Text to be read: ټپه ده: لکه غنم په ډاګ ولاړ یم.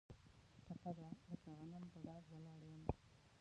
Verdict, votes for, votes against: rejected, 0, 2